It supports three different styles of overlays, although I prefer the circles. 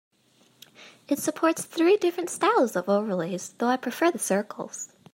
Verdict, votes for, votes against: rejected, 1, 2